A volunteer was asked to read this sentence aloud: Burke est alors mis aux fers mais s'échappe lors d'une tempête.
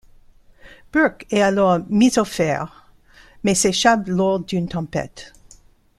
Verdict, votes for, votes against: accepted, 2, 0